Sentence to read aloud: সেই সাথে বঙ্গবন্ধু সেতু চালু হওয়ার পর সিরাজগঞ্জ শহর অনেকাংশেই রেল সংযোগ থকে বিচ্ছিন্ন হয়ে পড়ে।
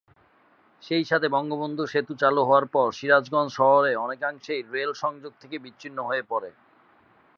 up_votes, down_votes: 6, 6